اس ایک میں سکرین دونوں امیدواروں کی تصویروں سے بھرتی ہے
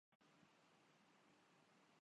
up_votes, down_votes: 0, 2